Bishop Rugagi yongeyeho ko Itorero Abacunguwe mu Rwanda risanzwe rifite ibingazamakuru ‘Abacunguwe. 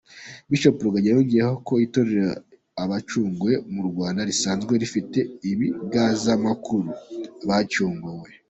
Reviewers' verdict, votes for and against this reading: accepted, 2, 1